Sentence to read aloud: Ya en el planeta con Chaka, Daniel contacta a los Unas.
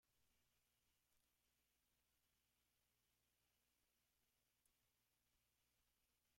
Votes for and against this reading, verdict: 0, 2, rejected